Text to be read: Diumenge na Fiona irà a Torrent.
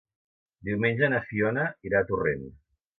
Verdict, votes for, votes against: accepted, 2, 0